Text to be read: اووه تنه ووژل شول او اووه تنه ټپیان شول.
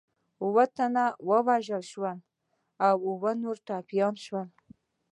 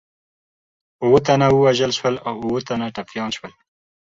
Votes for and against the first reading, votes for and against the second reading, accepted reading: 1, 2, 2, 0, second